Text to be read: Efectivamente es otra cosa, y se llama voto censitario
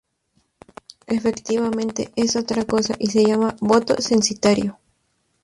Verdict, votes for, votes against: rejected, 2, 2